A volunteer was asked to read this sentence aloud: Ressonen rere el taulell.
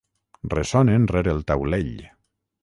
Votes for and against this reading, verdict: 6, 0, accepted